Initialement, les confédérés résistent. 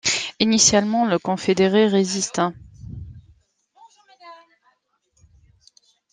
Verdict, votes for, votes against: rejected, 1, 2